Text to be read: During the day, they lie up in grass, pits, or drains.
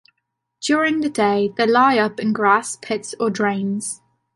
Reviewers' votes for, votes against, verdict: 2, 0, accepted